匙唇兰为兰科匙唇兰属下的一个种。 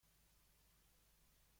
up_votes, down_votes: 0, 2